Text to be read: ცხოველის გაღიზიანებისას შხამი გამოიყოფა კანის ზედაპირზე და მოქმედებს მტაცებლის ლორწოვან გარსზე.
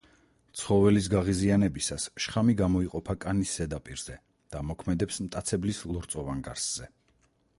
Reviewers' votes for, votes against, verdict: 4, 0, accepted